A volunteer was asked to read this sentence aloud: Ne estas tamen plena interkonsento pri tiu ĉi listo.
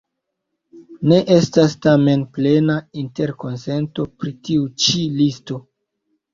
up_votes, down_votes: 1, 2